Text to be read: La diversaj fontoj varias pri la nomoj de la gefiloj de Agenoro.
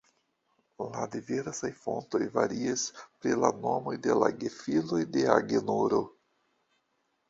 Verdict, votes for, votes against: accepted, 2, 0